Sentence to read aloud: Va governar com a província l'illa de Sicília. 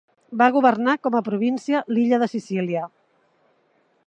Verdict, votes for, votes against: accepted, 3, 0